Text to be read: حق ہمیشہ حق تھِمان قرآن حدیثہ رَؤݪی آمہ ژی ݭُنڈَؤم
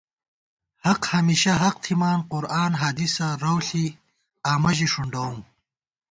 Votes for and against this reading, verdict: 2, 0, accepted